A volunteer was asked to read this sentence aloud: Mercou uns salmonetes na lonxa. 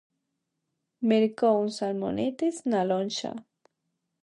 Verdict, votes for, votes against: accepted, 2, 0